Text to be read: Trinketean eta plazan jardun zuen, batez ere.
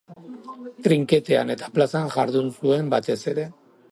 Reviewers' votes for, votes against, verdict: 4, 0, accepted